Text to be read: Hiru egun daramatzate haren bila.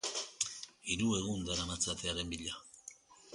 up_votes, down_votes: 2, 0